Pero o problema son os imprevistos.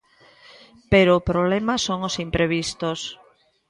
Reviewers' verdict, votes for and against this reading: rejected, 1, 2